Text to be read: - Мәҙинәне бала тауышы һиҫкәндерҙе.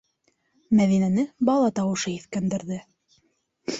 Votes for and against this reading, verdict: 2, 0, accepted